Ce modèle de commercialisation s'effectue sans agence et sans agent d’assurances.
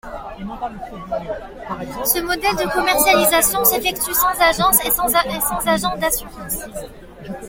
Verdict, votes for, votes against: rejected, 0, 2